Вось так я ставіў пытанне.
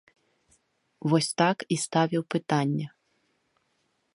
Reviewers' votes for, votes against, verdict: 0, 2, rejected